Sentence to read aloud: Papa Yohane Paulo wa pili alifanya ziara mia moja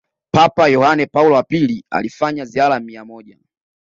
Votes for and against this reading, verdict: 2, 0, accepted